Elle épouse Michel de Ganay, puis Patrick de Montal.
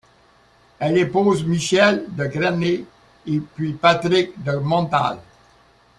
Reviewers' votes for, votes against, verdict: 0, 2, rejected